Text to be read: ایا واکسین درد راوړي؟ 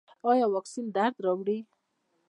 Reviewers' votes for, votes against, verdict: 2, 0, accepted